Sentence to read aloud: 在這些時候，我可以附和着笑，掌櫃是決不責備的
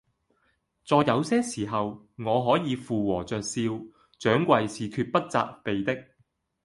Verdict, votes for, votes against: rejected, 0, 2